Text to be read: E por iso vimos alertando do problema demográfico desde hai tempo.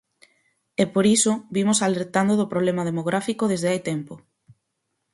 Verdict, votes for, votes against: accepted, 4, 2